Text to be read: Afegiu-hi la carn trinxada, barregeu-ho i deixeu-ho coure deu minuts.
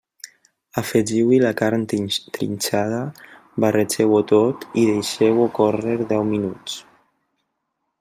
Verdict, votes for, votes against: rejected, 0, 2